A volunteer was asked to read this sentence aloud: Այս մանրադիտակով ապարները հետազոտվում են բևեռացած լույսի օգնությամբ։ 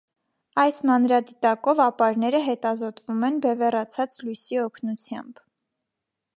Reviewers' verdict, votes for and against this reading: accepted, 2, 0